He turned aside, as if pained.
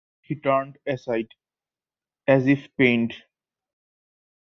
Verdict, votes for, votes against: rejected, 1, 2